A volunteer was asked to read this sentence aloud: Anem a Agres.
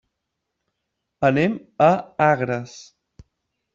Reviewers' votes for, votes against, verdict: 3, 0, accepted